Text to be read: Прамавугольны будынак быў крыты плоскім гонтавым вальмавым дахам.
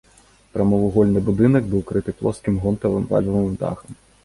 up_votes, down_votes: 2, 0